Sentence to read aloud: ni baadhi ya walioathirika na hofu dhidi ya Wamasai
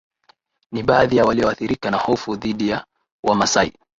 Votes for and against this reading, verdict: 13, 2, accepted